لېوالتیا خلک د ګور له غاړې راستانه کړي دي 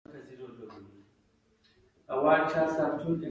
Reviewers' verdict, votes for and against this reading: accepted, 2, 1